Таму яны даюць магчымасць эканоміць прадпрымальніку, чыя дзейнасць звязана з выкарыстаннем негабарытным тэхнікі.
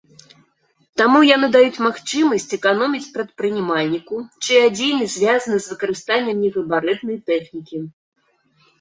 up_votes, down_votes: 0, 2